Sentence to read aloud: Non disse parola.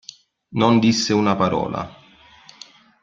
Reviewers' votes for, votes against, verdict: 0, 2, rejected